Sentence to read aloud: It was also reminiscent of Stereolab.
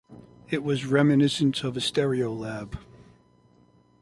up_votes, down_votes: 0, 2